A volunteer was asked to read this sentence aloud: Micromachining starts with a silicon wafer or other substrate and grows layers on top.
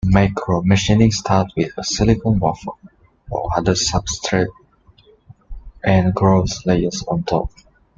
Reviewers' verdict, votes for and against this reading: rejected, 1, 2